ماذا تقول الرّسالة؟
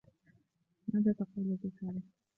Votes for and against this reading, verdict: 0, 2, rejected